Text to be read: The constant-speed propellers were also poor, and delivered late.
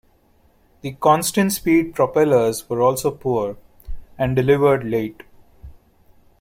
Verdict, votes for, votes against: accepted, 2, 1